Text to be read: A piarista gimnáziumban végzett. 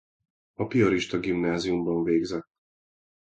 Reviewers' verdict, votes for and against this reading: accepted, 2, 0